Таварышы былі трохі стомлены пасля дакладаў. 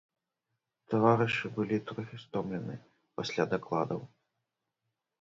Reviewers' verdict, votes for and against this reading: rejected, 0, 3